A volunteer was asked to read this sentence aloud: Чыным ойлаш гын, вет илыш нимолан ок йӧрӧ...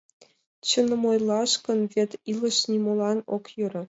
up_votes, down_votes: 2, 0